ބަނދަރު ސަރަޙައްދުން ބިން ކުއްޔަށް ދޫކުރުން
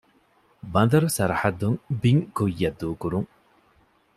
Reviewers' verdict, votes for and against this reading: accepted, 2, 0